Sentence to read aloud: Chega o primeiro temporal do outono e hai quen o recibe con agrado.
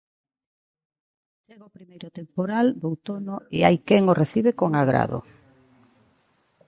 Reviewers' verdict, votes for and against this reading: rejected, 1, 2